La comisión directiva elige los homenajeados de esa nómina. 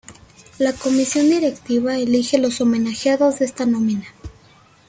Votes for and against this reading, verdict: 0, 2, rejected